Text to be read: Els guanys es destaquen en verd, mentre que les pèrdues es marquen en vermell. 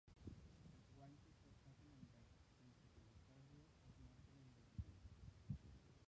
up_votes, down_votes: 0, 4